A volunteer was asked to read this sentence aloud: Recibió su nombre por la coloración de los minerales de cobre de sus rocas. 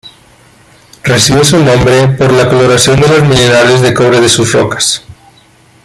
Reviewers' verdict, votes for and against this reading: accepted, 2, 0